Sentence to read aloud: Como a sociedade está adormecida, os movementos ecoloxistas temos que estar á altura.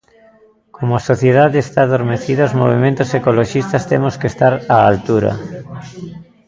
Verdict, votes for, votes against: accepted, 2, 0